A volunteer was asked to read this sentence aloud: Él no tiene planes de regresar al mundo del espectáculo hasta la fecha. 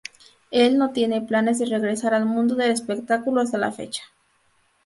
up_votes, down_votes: 4, 0